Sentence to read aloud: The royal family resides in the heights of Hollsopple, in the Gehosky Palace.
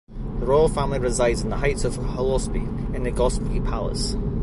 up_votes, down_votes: 2, 0